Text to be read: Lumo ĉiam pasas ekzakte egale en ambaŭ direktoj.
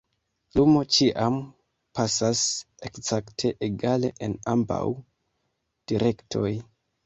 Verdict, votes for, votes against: rejected, 1, 2